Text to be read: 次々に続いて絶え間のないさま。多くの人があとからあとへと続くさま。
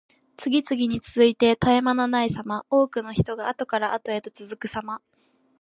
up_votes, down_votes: 2, 0